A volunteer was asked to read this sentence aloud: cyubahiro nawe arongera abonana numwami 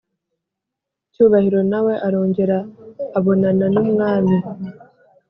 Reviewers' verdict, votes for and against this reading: accepted, 3, 0